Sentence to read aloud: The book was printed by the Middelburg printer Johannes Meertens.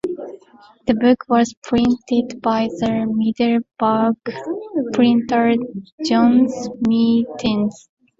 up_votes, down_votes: 2, 1